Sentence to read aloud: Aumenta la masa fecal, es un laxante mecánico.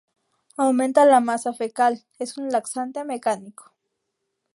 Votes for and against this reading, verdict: 2, 0, accepted